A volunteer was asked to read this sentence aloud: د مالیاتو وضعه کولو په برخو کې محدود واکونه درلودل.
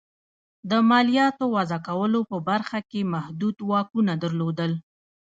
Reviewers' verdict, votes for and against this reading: accepted, 2, 0